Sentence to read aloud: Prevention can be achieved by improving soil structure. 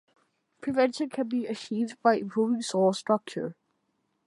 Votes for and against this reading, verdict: 2, 0, accepted